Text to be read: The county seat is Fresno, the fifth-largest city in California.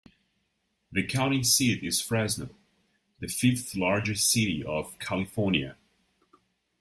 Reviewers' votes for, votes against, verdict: 0, 2, rejected